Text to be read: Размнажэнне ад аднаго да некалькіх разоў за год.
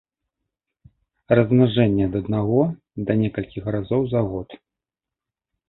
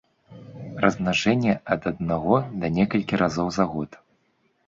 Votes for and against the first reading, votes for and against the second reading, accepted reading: 2, 0, 0, 2, first